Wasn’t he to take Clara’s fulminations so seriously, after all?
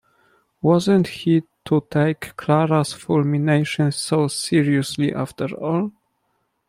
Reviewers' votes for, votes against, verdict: 2, 0, accepted